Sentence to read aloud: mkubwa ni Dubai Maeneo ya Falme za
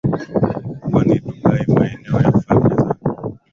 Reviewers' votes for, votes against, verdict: 2, 0, accepted